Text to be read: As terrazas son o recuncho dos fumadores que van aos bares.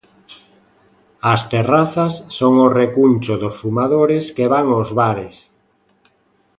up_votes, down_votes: 2, 0